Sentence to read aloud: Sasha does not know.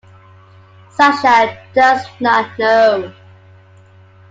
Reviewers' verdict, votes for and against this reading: accepted, 2, 0